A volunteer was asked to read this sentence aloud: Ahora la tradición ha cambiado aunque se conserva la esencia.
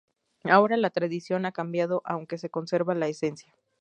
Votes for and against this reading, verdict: 4, 0, accepted